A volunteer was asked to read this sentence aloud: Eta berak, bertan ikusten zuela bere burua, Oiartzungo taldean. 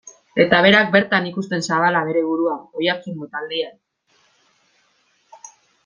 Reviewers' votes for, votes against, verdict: 1, 2, rejected